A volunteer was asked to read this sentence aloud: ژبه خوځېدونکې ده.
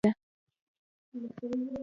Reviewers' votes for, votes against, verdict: 1, 2, rejected